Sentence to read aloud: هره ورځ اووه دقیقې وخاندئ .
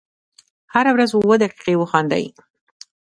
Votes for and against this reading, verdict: 1, 2, rejected